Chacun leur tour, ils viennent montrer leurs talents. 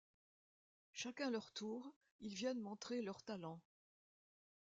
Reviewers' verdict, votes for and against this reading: rejected, 0, 2